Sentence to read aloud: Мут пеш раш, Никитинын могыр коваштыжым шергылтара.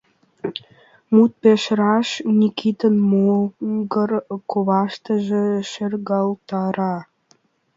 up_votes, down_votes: 1, 2